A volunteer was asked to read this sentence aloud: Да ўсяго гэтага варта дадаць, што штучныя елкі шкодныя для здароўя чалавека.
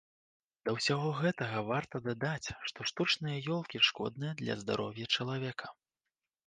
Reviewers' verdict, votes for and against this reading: rejected, 1, 2